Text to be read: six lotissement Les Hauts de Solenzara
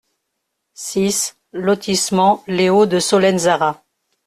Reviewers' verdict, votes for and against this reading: accepted, 2, 0